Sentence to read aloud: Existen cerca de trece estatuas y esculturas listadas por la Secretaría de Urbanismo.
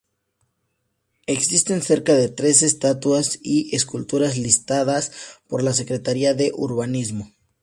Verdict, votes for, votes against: accepted, 2, 0